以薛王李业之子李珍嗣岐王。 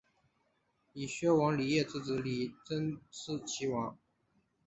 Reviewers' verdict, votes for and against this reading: accepted, 3, 0